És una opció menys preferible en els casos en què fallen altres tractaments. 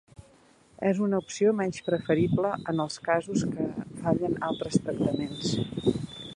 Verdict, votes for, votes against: rejected, 1, 2